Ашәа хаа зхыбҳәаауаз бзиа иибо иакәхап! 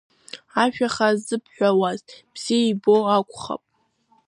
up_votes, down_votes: 1, 2